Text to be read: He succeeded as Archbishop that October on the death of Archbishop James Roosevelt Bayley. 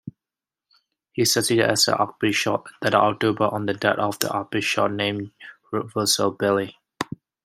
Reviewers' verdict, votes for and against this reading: rejected, 0, 2